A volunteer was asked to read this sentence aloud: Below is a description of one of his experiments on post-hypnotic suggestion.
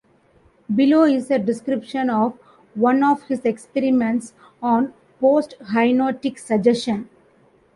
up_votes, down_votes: 1, 3